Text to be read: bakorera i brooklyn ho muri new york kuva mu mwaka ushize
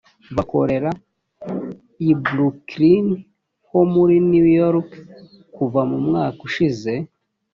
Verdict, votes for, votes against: accepted, 3, 0